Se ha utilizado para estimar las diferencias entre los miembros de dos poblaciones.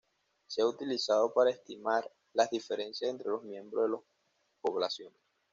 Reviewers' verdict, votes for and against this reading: rejected, 1, 2